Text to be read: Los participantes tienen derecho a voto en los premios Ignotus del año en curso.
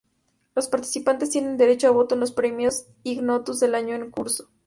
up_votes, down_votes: 2, 0